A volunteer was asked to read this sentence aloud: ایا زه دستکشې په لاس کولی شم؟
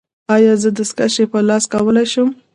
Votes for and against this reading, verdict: 1, 2, rejected